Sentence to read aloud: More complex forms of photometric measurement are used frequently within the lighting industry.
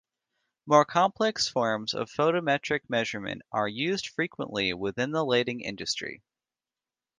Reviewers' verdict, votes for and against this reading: accepted, 2, 0